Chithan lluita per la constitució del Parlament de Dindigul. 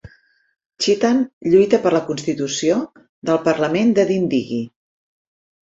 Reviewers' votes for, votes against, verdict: 2, 4, rejected